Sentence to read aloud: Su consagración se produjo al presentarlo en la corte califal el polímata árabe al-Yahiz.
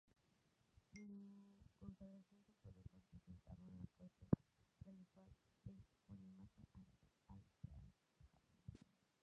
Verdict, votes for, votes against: rejected, 0, 2